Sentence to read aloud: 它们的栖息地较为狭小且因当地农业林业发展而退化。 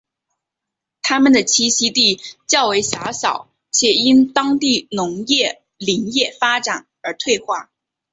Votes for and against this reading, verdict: 4, 1, accepted